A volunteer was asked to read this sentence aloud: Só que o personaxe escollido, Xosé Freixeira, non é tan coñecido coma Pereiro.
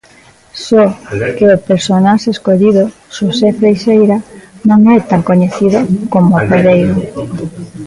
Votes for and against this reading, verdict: 1, 2, rejected